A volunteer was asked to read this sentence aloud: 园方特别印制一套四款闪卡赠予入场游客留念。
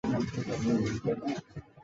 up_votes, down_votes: 0, 2